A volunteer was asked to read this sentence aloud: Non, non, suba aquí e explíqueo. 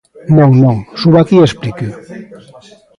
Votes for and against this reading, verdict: 2, 0, accepted